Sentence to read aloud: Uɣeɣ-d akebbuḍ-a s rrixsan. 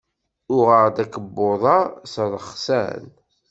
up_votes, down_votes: 1, 2